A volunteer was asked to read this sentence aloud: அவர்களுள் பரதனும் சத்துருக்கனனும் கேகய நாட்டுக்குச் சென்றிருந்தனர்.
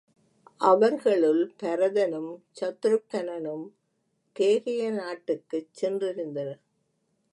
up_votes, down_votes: 3, 0